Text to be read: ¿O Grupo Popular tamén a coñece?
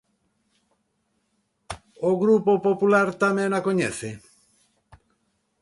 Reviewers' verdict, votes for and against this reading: accepted, 2, 0